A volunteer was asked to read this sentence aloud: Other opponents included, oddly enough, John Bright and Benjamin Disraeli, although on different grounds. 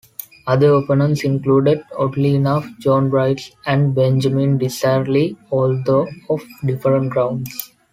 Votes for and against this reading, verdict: 1, 2, rejected